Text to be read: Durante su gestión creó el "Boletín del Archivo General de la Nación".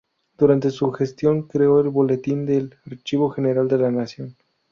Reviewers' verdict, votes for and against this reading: accepted, 2, 0